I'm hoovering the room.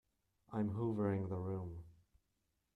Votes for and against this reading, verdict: 2, 0, accepted